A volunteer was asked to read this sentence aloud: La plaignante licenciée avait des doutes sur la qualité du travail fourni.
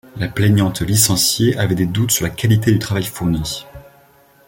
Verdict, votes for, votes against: accepted, 2, 1